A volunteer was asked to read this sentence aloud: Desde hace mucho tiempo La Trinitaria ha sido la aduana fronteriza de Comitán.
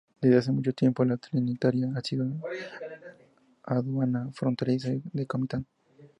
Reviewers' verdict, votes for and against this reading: accepted, 2, 0